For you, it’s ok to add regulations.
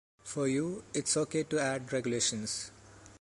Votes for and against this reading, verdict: 2, 0, accepted